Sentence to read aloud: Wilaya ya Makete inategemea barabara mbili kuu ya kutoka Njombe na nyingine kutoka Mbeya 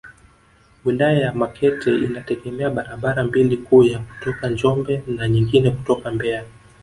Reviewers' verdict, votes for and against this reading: accepted, 3, 1